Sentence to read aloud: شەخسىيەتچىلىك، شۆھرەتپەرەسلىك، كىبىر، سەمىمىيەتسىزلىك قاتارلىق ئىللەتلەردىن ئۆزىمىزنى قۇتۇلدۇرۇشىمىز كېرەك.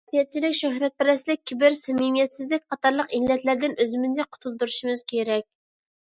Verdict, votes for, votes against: rejected, 0, 2